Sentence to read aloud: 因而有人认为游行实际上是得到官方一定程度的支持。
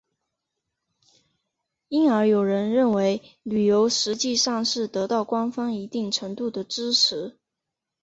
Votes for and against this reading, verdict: 0, 2, rejected